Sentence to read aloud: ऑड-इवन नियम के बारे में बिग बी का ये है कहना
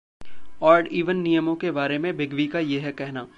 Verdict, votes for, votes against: rejected, 0, 2